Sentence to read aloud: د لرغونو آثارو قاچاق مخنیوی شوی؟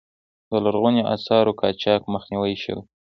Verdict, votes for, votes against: rejected, 1, 2